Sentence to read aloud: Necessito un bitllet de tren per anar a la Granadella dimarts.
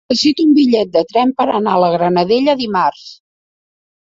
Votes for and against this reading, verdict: 0, 2, rejected